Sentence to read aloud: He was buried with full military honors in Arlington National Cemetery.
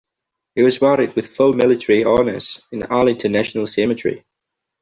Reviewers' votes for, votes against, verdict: 2, 0, accepted